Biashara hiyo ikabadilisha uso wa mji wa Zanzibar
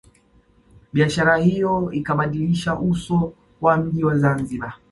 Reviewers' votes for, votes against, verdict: 2, 0, accepted